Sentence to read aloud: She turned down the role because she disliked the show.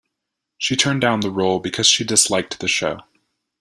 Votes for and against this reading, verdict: 2, 0, accepted